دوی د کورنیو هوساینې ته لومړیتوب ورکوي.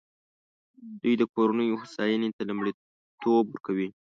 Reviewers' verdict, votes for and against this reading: rejected, 0, 2